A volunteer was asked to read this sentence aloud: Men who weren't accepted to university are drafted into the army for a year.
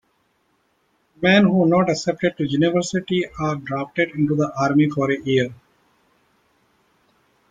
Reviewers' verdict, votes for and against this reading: accepted, 2, 0